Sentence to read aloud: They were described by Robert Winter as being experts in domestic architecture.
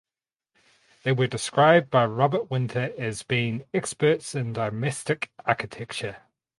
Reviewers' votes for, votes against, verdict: 4, 0, accepted